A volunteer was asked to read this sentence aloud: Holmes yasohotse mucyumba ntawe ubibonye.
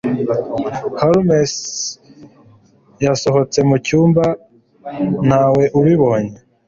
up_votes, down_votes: 2, 0